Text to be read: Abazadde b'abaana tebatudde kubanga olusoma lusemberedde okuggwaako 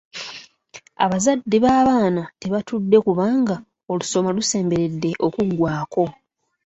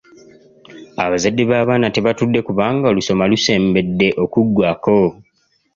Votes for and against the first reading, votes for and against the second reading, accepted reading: 2, 1, 1, 2, first